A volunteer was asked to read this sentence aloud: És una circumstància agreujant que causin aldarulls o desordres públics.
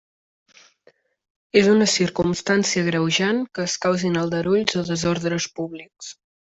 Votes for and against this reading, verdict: 1, 2, rejected